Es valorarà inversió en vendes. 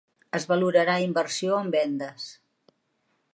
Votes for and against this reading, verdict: 3, 0, accepted